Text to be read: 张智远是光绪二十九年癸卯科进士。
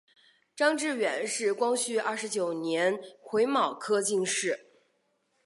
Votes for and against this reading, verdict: 7, 0, accepted